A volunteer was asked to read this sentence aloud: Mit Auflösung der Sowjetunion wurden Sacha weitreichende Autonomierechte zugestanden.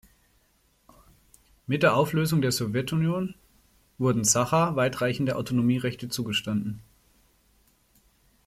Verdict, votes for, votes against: rejected, 0, 2